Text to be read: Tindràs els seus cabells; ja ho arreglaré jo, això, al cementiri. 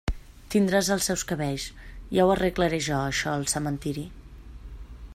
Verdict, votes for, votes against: accepted, 2, 0